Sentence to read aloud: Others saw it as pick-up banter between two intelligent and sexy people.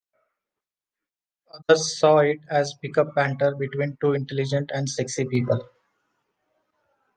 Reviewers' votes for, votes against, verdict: 0, 2, rejected